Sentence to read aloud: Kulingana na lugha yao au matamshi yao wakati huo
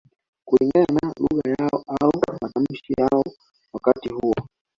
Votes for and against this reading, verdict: 0, 2, rejected